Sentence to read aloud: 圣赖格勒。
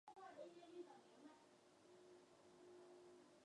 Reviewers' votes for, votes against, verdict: 0, 3, rejected